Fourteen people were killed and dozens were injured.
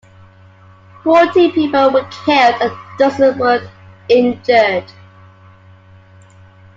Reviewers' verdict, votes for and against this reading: rejected, 1, 2